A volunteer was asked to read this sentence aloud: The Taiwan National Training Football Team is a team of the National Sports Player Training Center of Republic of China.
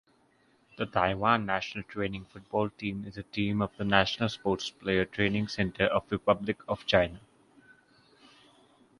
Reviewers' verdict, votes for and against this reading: accepted, 2, 0